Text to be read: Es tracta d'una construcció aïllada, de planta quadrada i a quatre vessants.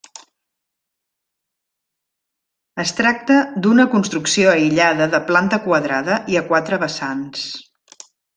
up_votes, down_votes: 3, 0